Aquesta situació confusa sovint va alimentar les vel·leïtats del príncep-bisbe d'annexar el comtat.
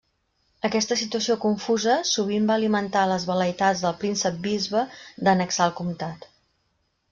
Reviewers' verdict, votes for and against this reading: accepted, 2, 0